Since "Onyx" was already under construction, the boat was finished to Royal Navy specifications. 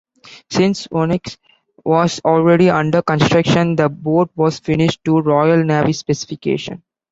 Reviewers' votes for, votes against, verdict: 0, 2, rejected